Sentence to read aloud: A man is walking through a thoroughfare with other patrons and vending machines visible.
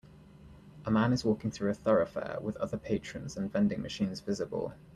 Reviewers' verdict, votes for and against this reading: accepted, 2, 0